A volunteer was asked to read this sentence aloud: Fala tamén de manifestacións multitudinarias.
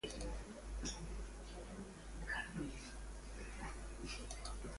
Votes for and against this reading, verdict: 0, 2, rejected